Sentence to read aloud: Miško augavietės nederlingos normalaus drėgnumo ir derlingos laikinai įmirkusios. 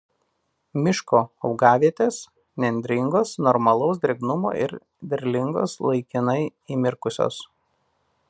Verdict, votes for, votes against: rejected, 0, 2